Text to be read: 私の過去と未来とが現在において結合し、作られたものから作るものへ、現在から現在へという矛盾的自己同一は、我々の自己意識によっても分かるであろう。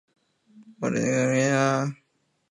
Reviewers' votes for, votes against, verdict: 0, 2, rejected